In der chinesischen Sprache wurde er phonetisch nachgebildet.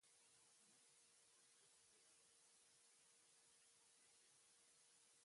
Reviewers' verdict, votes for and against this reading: rejected, 0, 2